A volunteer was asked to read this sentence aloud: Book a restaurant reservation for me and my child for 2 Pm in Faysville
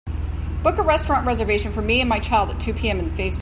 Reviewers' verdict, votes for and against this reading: rejected, 0, 2